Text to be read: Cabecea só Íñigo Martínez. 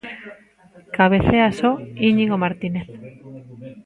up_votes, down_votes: 2, 0